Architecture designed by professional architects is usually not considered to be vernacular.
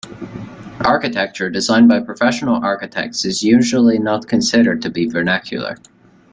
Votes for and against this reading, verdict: 2, 0, accepted